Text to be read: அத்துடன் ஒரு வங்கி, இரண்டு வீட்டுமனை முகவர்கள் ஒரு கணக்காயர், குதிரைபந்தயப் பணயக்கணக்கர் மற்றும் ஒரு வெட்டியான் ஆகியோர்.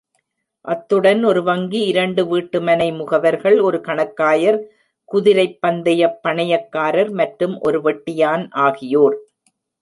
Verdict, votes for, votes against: rejected, 1, 2